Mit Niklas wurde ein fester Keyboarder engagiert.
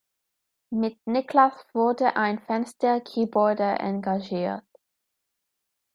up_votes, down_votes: 0, 2